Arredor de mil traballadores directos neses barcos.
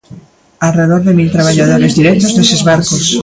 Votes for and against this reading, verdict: 1, 2, rejected